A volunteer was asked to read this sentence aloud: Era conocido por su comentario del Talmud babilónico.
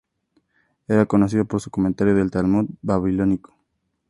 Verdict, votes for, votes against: accepted, 2, 0